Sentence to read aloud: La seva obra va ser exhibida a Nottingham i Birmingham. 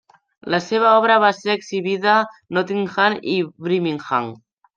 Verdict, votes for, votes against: rejected, 0, 2